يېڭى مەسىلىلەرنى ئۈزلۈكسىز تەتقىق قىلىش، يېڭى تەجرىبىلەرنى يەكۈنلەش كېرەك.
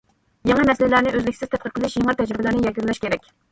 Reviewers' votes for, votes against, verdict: 2, 1, accepted